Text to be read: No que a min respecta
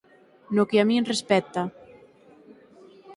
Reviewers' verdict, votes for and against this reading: accepted, 6, 0